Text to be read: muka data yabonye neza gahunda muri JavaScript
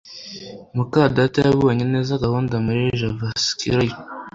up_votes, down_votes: 3, 0